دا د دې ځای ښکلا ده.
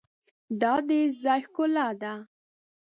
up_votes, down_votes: 1, 3